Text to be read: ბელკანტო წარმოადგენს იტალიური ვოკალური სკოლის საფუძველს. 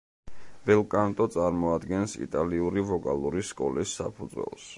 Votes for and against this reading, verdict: 2, 0, accepted